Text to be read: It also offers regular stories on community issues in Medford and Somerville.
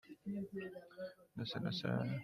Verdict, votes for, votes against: rejected, 0, 2